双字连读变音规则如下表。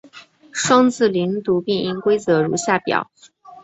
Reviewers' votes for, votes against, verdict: 2, 1, accepted